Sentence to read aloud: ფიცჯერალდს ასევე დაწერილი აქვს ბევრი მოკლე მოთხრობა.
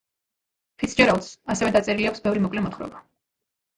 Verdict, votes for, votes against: accepted, 2, 0